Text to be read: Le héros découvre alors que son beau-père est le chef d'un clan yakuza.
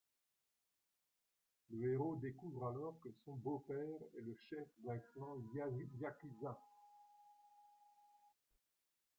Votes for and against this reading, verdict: 0, 2, rejected